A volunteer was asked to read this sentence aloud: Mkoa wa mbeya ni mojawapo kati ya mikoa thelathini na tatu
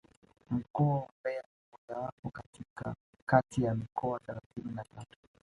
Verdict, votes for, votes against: rejected, 1, 2